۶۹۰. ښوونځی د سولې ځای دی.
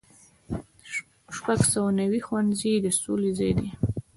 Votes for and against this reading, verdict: 0, 2, rejected